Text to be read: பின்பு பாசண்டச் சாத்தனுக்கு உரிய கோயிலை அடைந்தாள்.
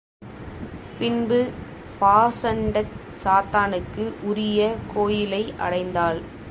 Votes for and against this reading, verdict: 2, 0, accepted